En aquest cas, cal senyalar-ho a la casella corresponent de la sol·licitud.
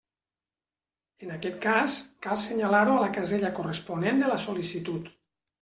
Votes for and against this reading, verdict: 3, 0, accepted